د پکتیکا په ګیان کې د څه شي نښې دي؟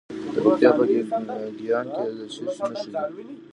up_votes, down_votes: 0, 2